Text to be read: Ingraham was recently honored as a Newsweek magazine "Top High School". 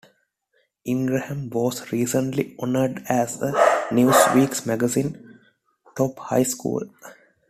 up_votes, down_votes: 2, 1